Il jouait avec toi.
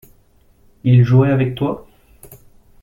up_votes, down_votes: 2, 0